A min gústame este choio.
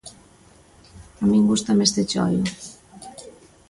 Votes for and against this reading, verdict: 2, 0, accepted